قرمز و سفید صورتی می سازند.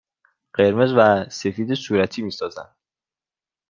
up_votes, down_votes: 1, 2